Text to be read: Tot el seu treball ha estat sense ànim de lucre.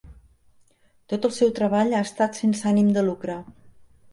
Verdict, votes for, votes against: accepted, 4, 0